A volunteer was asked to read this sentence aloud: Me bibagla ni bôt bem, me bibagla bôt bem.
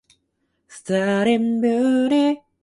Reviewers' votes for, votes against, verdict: 0, 2, rejected